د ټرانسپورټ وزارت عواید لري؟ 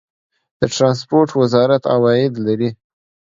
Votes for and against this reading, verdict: 2, 0, accepted